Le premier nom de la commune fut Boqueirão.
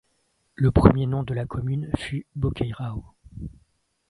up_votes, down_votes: 2, 0